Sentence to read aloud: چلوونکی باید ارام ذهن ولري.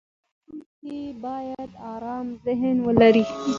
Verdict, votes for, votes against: accepted, 2, 1